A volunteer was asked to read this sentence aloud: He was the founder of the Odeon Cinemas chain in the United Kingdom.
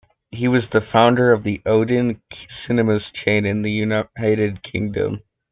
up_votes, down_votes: 0, 2